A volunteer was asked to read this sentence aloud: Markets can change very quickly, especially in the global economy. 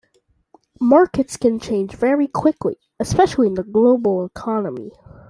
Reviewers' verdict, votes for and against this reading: accepted, 2, 0